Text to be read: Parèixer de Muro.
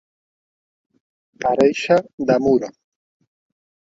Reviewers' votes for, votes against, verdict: 0, 2, rejected